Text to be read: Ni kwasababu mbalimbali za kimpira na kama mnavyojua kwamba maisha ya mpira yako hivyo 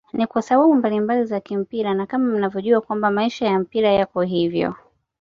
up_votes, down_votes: 2, 0